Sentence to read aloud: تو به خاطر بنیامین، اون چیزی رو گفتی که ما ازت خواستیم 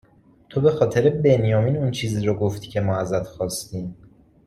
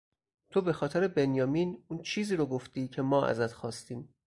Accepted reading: first